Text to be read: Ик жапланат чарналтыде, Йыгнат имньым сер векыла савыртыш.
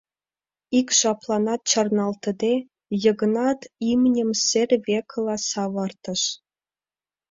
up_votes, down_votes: 2, 0